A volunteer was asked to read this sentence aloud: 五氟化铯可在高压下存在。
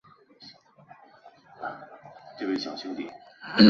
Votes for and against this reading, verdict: 0, 2, rejected